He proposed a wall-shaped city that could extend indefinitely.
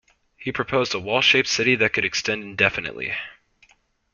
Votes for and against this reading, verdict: 3, 0, accepted